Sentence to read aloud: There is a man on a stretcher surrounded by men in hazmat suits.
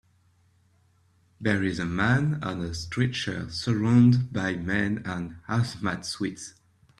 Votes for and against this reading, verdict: 0, 2, rejected